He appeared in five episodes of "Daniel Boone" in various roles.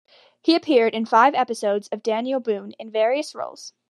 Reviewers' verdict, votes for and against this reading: accepted, 2, 0